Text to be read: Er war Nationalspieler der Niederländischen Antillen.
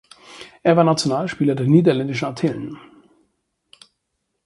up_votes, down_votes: 4, 0